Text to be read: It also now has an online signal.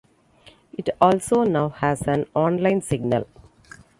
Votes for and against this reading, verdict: 2, 0, accepted